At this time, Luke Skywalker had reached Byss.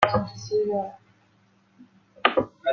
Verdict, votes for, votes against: rejected, 0, 2